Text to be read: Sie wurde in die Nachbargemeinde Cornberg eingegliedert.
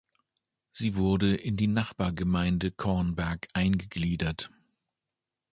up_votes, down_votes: 2, 0